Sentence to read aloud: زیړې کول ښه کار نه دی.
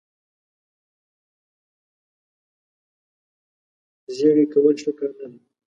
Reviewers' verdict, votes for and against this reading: accepted, 2, 1